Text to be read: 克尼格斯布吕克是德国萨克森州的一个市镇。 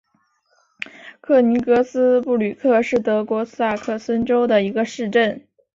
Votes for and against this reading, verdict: 2, 0, accepted